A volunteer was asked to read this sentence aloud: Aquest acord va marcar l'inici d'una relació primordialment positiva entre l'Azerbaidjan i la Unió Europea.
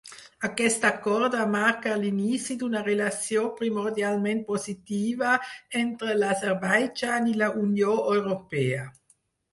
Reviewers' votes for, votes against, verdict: 0, 4, rejected